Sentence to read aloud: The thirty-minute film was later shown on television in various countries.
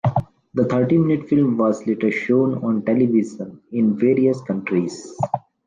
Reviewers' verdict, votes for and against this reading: accepted, 2, 0